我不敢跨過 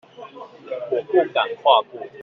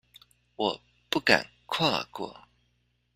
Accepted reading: second